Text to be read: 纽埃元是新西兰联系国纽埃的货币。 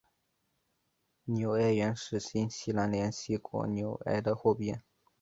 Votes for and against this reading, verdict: 3, 1, accepted